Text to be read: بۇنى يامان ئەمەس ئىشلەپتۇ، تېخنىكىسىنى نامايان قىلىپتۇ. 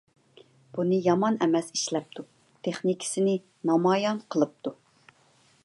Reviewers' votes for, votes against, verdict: 2, 0, accepted